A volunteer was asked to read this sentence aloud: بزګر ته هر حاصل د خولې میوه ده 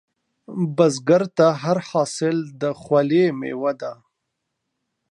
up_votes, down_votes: 2, 1